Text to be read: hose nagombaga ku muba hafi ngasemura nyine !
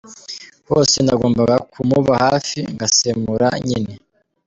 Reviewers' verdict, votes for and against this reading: accepted, 3, 0